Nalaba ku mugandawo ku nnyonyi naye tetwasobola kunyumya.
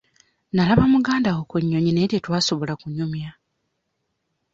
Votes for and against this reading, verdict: 1, 2, rejected